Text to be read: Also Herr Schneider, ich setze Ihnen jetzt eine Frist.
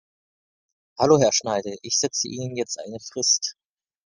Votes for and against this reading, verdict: 0, 2, rejected